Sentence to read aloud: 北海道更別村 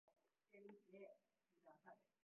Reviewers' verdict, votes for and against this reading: rejected, 1, 7